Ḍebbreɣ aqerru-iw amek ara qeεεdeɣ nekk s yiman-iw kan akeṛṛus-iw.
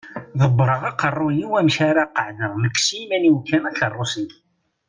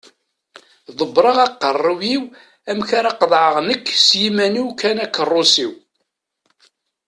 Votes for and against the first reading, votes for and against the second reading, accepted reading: 2, 0, 1, 2, first